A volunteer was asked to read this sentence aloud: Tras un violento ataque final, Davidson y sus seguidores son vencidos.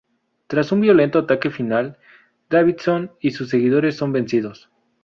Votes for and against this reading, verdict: 2, 0, accepted